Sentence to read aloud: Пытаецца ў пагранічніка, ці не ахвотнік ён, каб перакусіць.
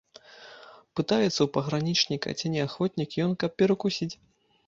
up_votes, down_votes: 2, 0